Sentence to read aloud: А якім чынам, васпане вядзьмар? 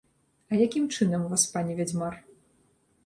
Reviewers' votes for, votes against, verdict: 2, 0, accepted